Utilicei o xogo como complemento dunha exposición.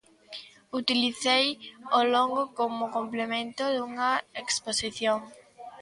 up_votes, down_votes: 0, 2